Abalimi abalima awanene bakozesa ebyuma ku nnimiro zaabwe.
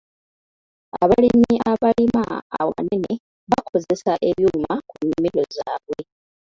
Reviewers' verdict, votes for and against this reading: rejected, 1, 2